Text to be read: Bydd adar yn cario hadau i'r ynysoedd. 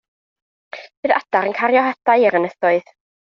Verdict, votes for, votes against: accepted, 2, 0